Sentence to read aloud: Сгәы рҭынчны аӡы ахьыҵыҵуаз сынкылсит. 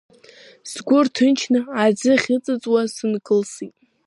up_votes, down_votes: 2, 1